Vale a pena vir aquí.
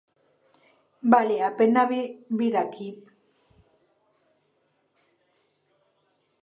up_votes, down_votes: 0, 2